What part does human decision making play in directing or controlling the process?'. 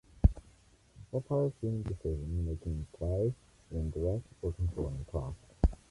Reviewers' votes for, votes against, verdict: 0, 2, rejected